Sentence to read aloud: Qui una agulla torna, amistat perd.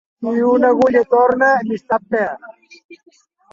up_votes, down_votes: 2, 0